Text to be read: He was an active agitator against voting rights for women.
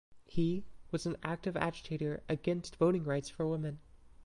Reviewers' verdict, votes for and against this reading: rejected, 1, 2